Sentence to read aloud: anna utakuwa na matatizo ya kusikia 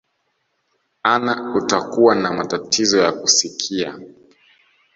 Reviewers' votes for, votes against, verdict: 1, 2, rejected